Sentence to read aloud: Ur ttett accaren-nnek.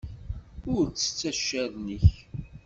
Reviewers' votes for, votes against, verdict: 2, 0, accepted